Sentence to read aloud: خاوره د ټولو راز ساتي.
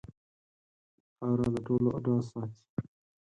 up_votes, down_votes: 2, 4